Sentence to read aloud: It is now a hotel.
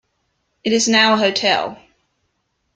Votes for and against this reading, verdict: 2, 0, accepted